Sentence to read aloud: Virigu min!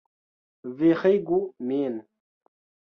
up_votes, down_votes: 1, 2